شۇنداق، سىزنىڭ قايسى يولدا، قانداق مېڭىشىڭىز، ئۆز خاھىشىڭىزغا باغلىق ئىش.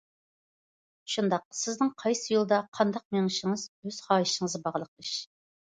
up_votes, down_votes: 2, 0